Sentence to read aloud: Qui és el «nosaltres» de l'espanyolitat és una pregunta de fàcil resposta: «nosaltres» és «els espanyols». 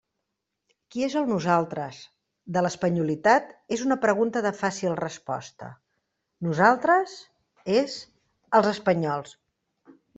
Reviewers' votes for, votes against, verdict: 2, 0, accepted